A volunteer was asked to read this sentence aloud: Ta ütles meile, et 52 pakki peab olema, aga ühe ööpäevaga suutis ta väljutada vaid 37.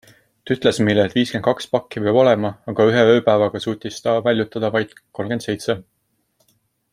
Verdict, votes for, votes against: rejected, 0, 2